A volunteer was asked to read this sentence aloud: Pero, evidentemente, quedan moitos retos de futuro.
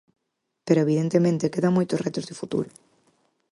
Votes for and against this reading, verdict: 4, 0, accepted